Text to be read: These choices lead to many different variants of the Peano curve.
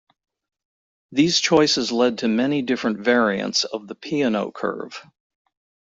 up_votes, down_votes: 1, 2